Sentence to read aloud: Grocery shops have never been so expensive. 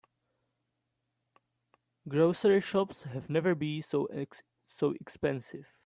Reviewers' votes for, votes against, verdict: 1, 2, rejected